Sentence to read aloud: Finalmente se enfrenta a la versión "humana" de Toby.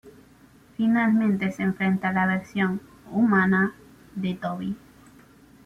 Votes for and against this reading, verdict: 2, 0, accepted